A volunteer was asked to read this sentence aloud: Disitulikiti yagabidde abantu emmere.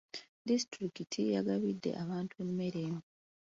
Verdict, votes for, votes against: accepted, 2, 0